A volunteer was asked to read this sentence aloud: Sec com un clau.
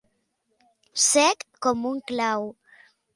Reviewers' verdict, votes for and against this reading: accepted, 2, 0